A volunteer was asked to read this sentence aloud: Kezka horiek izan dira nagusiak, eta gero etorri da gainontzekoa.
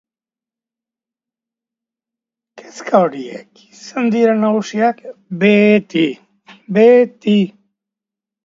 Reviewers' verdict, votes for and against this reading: rejected, 0, 2